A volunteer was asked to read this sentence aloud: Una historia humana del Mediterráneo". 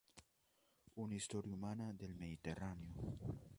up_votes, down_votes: 0, 2